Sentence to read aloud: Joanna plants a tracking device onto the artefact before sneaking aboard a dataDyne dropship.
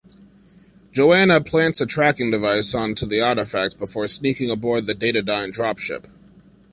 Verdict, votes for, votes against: rejected, 1, 2